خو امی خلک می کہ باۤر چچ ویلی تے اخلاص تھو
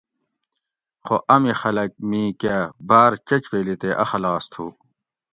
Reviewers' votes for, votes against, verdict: 2, 0, accepted